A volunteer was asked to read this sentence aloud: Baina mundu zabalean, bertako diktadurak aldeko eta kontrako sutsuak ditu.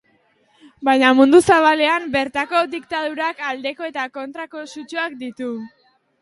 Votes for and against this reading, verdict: 2, 0, accepted